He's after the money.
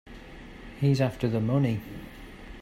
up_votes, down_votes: 2, 0